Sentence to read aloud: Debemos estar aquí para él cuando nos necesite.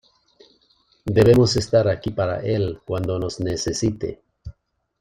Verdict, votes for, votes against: accepted, 2, 0